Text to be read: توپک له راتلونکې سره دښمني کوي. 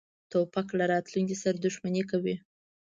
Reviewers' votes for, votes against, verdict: 2, 0, accepted